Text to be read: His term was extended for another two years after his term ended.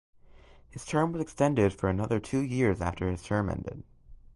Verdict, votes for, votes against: rejected, 1, 2